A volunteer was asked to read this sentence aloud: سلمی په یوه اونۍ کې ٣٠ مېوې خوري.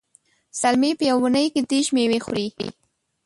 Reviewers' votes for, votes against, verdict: 0, 2, rejected